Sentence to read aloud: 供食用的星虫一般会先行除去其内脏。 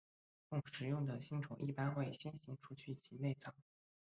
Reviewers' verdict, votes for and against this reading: rejected, 0, 3